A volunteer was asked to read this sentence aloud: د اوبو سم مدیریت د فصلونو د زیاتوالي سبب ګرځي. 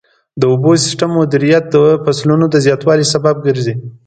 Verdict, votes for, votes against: rejected, 1, 2